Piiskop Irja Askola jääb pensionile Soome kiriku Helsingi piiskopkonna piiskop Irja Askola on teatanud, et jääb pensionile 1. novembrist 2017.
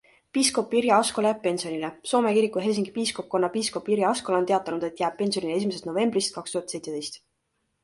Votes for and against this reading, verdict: 0, 2, rejected